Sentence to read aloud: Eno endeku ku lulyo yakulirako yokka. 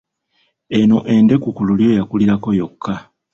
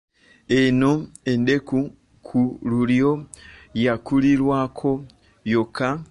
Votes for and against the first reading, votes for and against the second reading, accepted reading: 2, 0, 0, 2, first